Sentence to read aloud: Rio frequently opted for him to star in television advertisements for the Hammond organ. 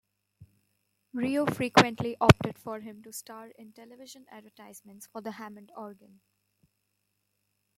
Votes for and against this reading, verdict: 0, 2, rejected